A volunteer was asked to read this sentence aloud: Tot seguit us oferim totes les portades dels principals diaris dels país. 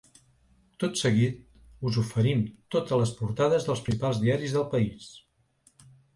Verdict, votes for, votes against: rejected, 1, 2